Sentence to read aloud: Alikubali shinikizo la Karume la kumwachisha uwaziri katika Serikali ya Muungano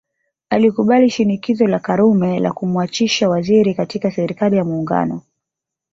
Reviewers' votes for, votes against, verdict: 2, 0, accepted